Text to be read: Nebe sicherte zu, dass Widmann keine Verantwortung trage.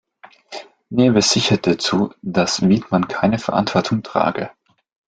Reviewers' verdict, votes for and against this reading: accepted, 2, 0